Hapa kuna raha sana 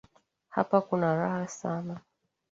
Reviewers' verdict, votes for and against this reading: accepted, 2, 0